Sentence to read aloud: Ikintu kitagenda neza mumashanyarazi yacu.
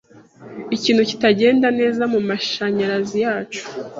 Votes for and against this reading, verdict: 2, 0, accepted